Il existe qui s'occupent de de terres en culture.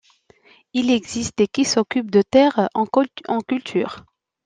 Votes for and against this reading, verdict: 0, 2, rejected